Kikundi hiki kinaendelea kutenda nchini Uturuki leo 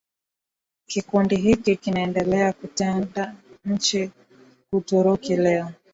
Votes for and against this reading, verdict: 0, 2, rejected